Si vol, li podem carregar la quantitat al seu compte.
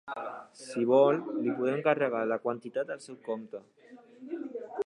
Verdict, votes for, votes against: accepted, 2, 0